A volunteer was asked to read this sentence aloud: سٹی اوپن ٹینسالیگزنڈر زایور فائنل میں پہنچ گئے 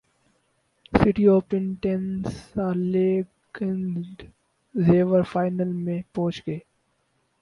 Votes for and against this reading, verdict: 2, 4, rejected